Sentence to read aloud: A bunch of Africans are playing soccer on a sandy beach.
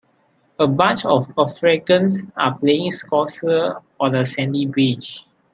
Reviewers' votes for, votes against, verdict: 0, 2, rejected